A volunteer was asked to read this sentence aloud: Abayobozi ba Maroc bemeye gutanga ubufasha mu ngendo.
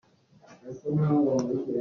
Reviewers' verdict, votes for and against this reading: rejected, 0, 2